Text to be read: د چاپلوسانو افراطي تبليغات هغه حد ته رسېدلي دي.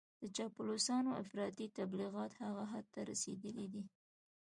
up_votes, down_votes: 2, 0